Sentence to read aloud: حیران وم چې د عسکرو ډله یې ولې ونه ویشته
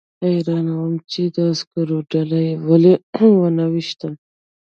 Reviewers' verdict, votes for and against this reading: rejected, 1, 2